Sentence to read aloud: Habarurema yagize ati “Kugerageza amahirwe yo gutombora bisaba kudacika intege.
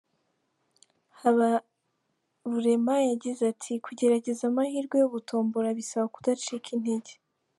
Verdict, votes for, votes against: accepted, 2, 1